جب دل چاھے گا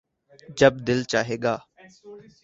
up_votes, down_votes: 4, 0